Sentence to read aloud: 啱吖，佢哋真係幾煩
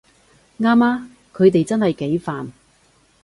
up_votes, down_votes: 2, 0